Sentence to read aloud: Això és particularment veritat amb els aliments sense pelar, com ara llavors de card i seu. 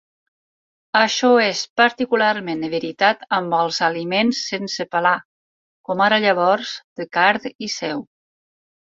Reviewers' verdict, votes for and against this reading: accepted, 4, 2